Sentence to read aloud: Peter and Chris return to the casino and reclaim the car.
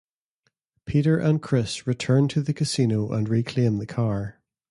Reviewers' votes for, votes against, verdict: 2, 0, accepted